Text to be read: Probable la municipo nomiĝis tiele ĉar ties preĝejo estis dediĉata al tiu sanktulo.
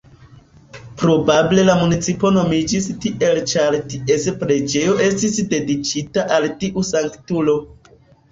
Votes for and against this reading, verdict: 0, 2, rejected